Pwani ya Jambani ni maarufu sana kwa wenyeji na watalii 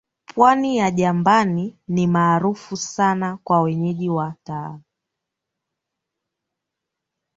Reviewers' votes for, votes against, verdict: 1, 2, rejected